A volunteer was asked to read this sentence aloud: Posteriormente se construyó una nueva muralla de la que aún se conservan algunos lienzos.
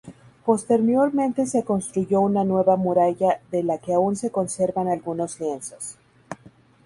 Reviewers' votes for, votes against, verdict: 4, 0, accepted